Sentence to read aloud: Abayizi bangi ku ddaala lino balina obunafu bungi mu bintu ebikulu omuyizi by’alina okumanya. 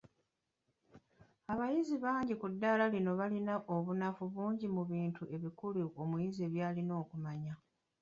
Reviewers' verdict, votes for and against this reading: accepted, 2, 1